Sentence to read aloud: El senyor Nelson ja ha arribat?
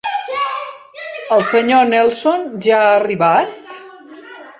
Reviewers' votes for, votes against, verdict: 1, 2, rejected